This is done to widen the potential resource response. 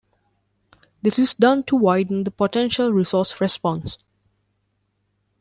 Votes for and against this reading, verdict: 2, 0, accepted